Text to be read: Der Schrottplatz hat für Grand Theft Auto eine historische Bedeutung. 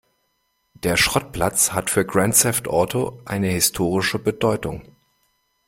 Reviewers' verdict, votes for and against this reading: accepted, 2, 0